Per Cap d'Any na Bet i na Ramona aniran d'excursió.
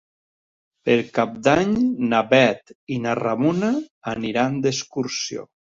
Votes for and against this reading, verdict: 2, 0, accepted